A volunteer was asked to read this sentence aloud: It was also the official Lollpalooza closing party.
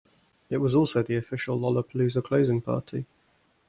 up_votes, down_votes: 2, 0